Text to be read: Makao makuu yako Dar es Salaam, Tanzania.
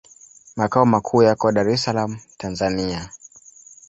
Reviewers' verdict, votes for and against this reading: accepted, 2, 1